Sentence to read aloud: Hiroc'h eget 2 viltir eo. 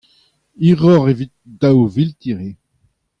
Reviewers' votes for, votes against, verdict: 0, 2, rejected